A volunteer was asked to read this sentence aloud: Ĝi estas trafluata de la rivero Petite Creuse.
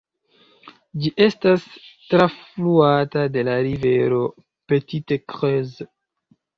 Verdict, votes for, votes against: rejected, 0, 2